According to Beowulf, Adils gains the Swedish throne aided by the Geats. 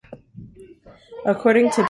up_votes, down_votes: 0, 2